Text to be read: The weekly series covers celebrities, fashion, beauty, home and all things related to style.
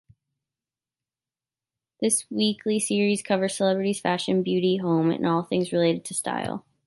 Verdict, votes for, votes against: rejected, 0, 2